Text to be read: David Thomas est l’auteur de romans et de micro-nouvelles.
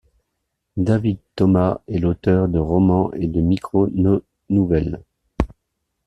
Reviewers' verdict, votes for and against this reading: rejected, 1, 2